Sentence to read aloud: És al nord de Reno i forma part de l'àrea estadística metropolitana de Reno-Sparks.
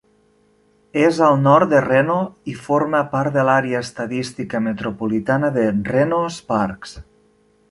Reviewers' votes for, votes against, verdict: 1, 2, rejected